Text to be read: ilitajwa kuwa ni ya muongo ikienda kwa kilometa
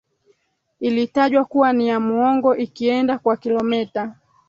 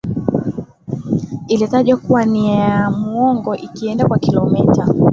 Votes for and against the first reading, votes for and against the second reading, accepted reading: 3, 2, 0, 4, first